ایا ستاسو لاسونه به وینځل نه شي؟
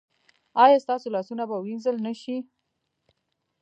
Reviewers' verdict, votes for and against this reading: rejected, 1, 2